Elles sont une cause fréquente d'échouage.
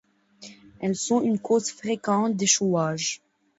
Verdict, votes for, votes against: accepted, 2, 0